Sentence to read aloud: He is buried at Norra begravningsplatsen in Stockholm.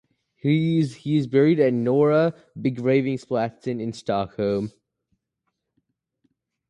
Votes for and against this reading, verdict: 0, 4, rejected